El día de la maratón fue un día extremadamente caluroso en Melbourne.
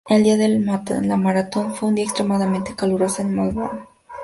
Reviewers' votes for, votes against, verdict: 0, 2, rejected